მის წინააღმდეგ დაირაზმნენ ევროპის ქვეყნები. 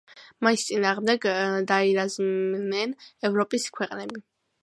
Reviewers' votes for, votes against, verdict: 2, 1, accepted